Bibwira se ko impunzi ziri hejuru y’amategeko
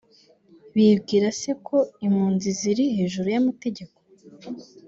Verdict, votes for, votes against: accepted, 2, 0